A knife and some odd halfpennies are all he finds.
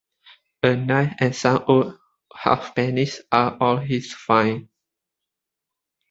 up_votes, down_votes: 1, 2